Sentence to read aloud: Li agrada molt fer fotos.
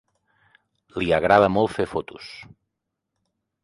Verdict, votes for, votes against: accepted, 3, 0